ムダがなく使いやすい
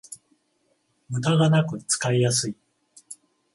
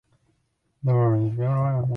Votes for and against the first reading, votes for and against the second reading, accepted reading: 14, 7, 0, 2, first